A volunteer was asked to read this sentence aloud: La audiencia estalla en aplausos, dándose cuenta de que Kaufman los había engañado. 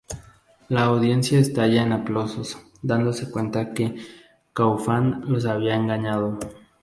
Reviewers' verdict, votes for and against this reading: accepted, 2, 0